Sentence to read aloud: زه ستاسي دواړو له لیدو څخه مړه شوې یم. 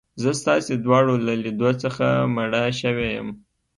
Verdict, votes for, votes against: rejected, 1, 2